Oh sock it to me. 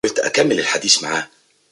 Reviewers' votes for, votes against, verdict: 0, 2, rejected